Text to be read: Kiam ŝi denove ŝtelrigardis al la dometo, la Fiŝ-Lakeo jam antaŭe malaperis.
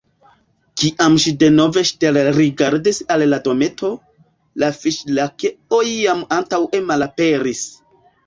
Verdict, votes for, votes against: rejected, 1, 2